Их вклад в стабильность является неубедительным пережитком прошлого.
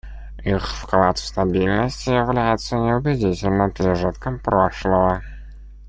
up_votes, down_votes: 1, 2